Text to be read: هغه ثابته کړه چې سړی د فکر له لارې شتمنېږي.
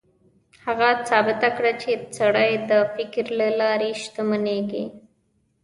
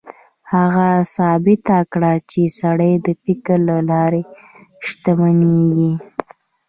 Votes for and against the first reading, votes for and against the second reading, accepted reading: 0, 2, 2, 0, second